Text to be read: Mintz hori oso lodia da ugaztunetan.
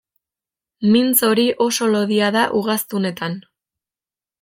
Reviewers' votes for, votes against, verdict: 1, 2, rejected